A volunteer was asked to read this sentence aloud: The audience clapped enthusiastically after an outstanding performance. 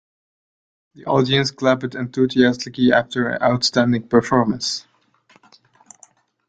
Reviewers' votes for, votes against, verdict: 0, 2, rejected